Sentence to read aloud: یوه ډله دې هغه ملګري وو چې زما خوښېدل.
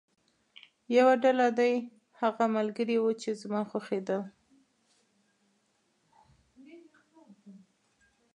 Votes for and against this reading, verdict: 2, 1, accepted